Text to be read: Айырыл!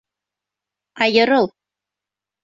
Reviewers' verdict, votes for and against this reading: accepted, 2, 0